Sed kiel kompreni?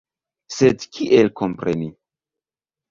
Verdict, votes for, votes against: accepted, 3, 0